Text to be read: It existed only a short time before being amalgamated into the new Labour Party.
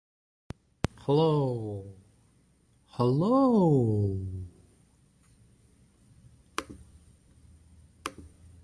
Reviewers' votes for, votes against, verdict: 0, 2, rejected